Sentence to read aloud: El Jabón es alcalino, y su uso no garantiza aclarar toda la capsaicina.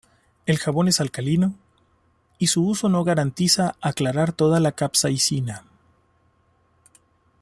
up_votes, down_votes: 2, 1